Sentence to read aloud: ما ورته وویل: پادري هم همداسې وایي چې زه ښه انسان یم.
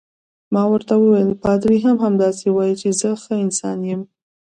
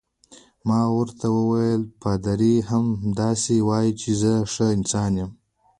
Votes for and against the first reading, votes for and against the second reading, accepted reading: 2, 1, 1, 2, first